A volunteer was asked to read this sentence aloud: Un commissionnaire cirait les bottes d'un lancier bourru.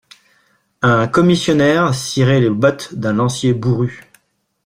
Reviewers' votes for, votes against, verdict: 2, 0, accepted